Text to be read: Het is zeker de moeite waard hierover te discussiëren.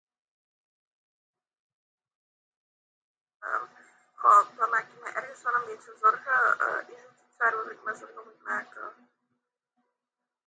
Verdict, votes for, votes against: rejected, 0, 2